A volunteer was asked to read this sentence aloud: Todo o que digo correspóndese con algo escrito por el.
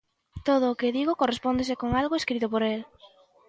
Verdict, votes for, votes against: accepted, 2, 0